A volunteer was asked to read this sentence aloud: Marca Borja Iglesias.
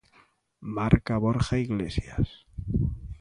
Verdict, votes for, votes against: accepted, 2, 0